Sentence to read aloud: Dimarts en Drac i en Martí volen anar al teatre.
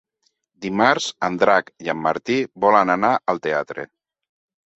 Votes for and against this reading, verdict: 3, 0, accepted